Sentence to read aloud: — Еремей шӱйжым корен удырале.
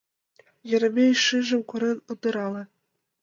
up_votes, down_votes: 1, 5